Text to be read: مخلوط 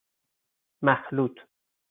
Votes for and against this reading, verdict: 4, 0, accepted